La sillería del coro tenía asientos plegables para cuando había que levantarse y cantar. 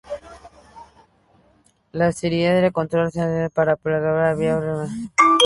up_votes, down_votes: 0, 2